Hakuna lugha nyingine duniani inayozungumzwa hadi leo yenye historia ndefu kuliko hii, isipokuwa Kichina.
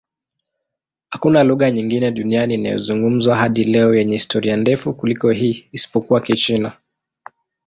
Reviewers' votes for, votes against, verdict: 2, 0, accepted